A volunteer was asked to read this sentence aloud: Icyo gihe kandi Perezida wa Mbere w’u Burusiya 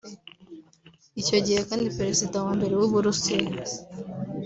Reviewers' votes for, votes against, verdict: 2, 0, accepted